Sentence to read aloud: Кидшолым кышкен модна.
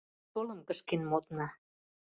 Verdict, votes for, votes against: rejected, 1, 2